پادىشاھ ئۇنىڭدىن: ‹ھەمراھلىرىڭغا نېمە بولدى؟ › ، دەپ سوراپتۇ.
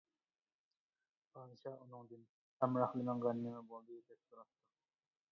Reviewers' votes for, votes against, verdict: 0, 2, rejected